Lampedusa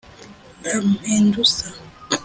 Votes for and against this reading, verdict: 2, 1, accepted